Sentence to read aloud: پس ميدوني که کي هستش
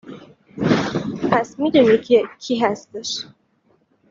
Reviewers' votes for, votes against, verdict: 2, 1, accepted